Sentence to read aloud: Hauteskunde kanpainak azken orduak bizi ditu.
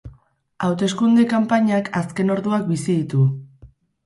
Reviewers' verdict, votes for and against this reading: accepted, 2, 0